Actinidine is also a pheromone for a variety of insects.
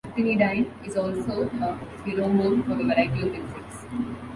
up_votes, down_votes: 0, 2